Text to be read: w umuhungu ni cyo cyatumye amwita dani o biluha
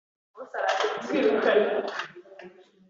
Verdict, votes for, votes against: rejected, 1, 2